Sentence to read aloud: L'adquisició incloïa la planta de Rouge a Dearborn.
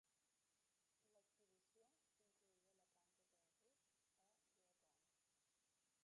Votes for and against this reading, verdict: 0, 2, rejected